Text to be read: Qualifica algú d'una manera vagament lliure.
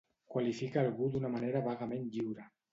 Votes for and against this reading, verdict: 2, 0, accepted